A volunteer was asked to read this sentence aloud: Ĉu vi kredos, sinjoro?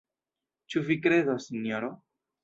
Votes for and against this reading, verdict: 1, 2, rejected